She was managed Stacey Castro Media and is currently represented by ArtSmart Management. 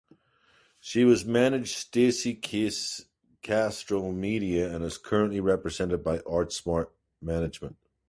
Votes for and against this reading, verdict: 2, 0, accepted